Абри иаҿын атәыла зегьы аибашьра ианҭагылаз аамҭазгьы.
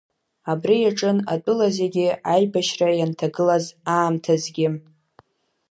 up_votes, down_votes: 2, 0